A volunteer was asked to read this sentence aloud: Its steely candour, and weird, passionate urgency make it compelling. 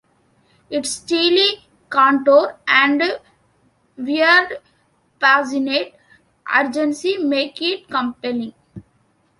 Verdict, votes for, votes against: rejected, 0, 2